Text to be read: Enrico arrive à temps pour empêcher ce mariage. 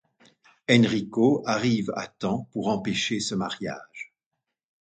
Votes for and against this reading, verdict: 2, 0, accepted